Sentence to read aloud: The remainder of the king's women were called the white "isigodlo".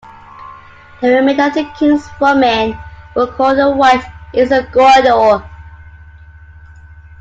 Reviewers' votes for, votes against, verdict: 2, 1, accepted